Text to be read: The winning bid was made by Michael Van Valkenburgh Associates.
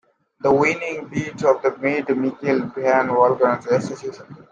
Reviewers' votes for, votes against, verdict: 0, 2, rejected